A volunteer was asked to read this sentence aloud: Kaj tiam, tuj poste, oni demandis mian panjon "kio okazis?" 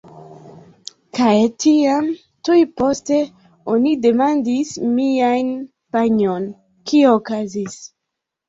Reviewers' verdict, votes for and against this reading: rejected, 0, 2